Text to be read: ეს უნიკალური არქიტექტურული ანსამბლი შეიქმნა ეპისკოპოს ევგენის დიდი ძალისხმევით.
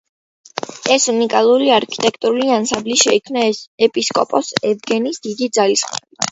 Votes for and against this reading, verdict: 2, 0, accepted